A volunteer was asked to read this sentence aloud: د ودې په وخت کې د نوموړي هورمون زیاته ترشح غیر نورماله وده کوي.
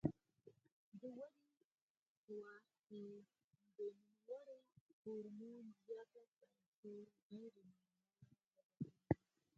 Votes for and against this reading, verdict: 0, 4, rejected